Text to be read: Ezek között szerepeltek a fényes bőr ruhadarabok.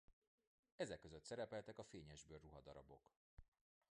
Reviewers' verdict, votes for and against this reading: rejected, 0, 2